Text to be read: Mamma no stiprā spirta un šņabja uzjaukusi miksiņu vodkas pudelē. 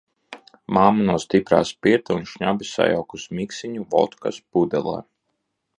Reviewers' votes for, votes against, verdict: 1, 2, rejected